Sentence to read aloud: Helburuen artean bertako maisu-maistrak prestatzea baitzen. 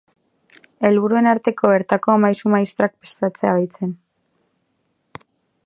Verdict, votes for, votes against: rejected, 0, 4